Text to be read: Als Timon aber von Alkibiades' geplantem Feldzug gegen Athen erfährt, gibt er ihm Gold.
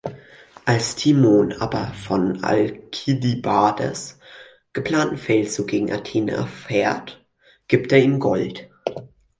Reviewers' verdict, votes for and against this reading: rejected, 2, 4